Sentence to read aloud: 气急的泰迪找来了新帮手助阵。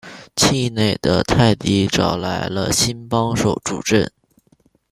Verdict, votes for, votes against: rejected, 0, 2